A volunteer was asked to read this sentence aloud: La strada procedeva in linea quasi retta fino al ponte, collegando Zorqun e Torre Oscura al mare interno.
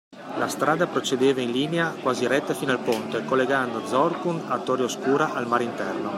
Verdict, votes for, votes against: rejected, 1, 2